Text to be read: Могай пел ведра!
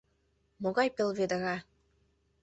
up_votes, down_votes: 1, 2